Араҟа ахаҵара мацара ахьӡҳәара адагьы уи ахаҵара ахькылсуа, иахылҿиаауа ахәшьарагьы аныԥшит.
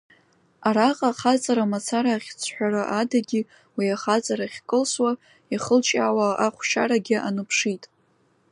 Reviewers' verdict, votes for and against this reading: rejected, 1, 2